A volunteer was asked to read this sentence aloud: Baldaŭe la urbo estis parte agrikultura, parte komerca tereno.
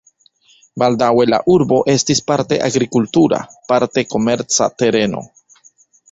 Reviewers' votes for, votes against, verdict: 2, 0, accepted